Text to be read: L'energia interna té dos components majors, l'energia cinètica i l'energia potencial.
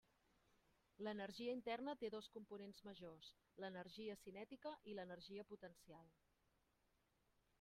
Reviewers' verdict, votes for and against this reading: rejected, 0, 2